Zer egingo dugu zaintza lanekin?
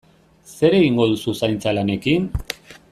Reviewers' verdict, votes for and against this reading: rejected, 0, 2